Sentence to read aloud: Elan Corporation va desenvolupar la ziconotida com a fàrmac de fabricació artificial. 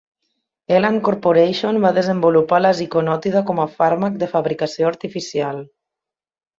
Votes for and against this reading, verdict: 2, 0, accepted